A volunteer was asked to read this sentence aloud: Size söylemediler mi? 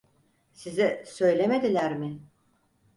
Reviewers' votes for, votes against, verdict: 4, 0, accepted